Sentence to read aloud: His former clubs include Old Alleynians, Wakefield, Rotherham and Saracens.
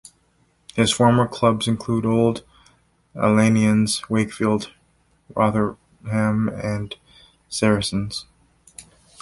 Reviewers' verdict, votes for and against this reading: rejected, 1, 2